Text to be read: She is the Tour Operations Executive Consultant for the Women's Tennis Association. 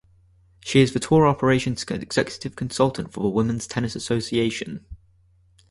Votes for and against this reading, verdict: 0, 2, rejected